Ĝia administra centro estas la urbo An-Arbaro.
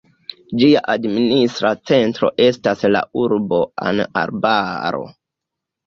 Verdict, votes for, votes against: rejected, 1, 2